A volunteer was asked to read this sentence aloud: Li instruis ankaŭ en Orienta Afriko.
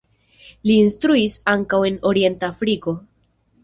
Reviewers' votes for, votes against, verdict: 2, 0, accepted